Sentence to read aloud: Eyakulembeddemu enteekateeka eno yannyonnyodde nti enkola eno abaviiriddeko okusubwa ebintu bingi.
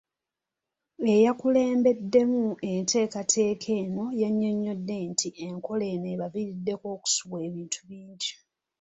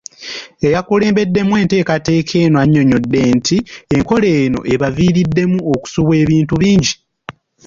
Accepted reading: first